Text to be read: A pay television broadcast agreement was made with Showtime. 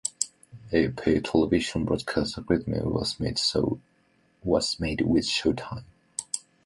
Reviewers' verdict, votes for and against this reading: rejected, 0, 2